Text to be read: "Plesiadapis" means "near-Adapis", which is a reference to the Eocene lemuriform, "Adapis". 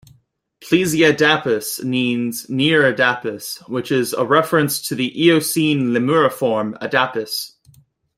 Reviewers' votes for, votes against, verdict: 2, 0, accepted